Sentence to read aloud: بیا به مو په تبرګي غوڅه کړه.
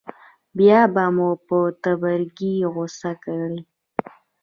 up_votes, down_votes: 1, 2